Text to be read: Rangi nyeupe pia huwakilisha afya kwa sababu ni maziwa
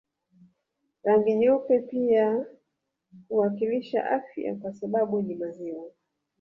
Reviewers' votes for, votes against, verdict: 3, 1, accepted